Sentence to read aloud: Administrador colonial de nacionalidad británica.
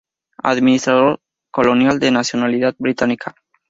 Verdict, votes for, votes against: rejected, 0, 2